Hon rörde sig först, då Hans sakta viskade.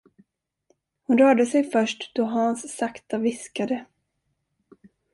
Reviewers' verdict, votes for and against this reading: accepted, 2, 0